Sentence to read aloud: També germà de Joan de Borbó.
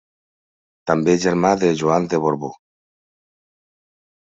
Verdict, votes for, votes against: accepted, 2, 0